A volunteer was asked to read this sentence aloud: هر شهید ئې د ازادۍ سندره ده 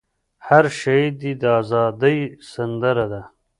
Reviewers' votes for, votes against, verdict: 0, 2, rejected